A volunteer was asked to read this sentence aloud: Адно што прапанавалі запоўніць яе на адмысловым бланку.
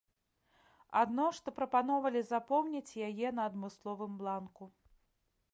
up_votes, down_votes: 0, 2